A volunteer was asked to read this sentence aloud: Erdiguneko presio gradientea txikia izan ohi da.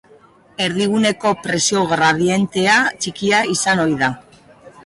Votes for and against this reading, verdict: 5, 0, accepted